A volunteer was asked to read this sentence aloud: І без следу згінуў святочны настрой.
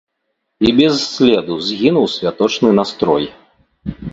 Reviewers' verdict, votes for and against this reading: rejected, 1, 2